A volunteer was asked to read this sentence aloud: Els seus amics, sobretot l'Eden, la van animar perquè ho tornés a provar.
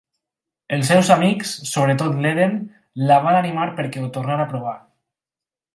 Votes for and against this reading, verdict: 0, 4, rejected